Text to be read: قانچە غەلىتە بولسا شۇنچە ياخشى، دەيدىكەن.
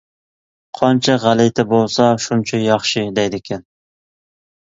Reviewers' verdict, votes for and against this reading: accepted, 2, 0